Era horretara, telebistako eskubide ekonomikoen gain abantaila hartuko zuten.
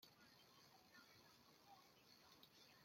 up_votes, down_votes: 0, 2